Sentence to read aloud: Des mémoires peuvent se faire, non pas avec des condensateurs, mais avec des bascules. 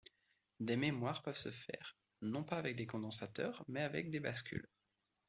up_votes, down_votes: 2, 0